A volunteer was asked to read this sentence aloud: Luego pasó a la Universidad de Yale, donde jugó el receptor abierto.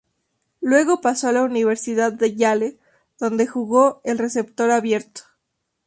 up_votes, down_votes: 2, 0